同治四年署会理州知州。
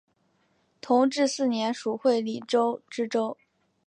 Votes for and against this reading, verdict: 7, 1, accepted